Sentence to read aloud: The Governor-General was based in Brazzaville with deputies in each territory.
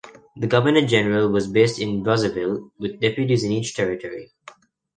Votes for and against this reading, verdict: 2, 0, accepted